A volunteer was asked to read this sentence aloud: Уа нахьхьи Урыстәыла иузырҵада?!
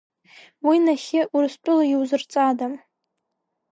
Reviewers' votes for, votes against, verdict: 3, 0, accepted